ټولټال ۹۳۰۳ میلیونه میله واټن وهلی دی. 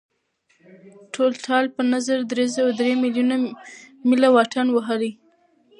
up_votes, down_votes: 0, 2